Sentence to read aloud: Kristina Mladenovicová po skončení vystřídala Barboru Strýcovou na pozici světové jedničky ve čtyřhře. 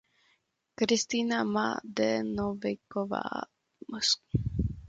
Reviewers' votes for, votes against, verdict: 0, 2, rejected